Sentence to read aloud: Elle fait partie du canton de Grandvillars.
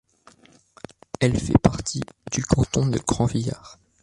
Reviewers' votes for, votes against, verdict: 2, 1, accepted